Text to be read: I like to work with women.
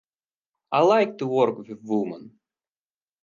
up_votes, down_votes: 0, 4